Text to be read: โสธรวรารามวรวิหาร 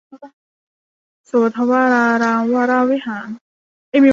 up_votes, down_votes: 0, 2